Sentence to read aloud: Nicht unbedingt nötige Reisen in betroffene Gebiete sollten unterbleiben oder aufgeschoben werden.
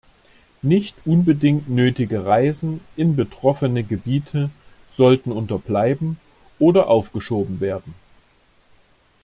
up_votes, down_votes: 2, 0